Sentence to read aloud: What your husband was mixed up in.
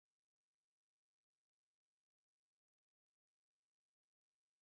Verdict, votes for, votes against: rejected, 0, 2